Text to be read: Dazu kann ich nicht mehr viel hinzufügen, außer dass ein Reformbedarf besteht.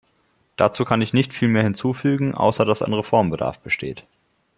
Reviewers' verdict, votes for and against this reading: accepted, 2, 0